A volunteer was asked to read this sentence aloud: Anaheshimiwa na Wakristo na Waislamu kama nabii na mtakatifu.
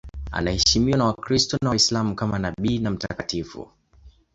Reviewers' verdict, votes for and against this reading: accepted, 2, 0